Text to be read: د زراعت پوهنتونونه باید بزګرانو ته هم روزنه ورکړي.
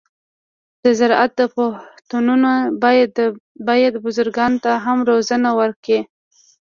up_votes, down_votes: 1, 2